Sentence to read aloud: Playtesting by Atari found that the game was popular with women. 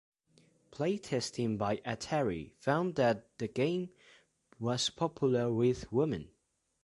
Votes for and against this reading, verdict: 3, 0, accepted